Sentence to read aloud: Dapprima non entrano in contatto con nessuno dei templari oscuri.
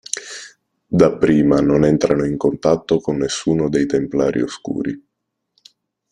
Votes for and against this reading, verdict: 2, 1, accepted